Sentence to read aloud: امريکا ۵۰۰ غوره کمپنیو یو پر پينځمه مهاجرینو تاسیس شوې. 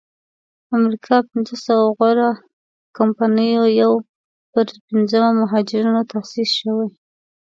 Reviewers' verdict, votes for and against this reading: rejected, 0, 2